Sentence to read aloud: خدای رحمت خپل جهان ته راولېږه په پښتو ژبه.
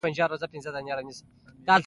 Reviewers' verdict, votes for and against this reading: rejected, 0, 2